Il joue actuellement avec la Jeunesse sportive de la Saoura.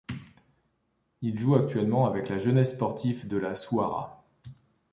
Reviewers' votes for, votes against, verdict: 1, 2, rejected